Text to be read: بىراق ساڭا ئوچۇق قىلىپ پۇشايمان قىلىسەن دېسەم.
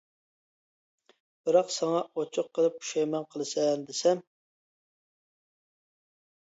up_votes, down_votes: 2, 0